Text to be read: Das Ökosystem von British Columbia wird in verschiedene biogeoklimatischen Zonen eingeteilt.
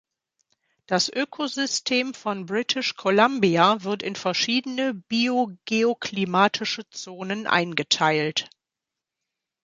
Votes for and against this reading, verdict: 1, 2, rejected